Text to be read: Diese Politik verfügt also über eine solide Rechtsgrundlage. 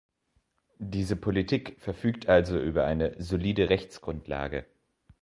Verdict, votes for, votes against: accepted, 2, 0